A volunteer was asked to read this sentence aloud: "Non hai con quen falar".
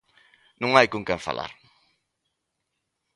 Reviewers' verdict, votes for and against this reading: accepted, 3, 0